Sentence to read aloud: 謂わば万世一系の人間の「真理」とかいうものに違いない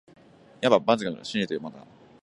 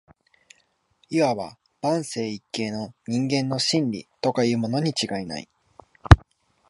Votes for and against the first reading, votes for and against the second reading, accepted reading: 1, 6, 2, 0, second